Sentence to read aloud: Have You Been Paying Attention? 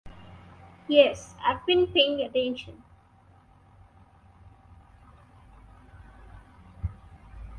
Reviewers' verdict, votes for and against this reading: rejected, 0, 2